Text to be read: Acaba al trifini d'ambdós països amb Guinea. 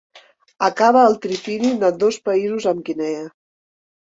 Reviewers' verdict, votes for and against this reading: rejected, 1, 2